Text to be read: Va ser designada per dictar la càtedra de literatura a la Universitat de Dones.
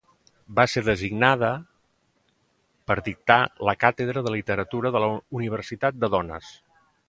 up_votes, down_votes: 1, 2